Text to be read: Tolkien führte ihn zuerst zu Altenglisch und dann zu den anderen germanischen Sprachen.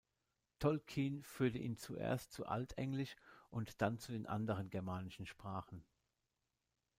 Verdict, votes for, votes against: rejected, 0, 2